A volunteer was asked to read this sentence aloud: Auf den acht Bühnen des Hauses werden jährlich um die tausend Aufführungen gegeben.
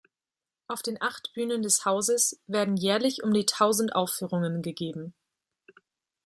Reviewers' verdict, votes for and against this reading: accepted, 2, 0